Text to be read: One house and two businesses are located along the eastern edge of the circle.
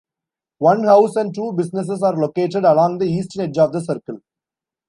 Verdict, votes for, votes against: rejected, 1, 2